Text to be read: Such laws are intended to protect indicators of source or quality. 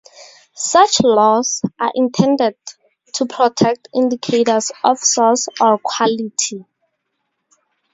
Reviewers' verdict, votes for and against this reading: rejected, 2, 2